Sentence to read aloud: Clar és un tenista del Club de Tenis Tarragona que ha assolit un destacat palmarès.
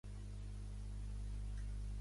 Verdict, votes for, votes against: rejected, 0, 2